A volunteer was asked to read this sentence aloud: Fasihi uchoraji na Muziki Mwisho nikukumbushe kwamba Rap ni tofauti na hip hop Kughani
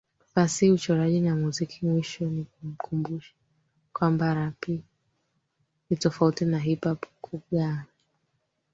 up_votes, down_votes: 0, 4